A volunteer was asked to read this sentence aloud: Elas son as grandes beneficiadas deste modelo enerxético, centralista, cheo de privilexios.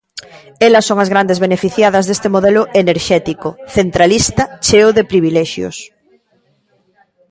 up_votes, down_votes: 2, 0